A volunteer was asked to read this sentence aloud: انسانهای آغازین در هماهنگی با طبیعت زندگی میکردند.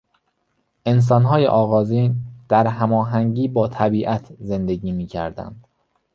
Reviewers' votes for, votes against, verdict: 2, 0, accepted